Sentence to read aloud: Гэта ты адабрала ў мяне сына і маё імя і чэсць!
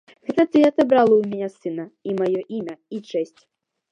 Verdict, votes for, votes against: accepted, 2, 1